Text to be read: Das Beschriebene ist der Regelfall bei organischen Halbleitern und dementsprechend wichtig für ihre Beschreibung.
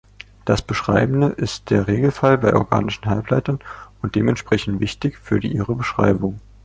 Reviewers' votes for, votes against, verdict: 0, 2, rejected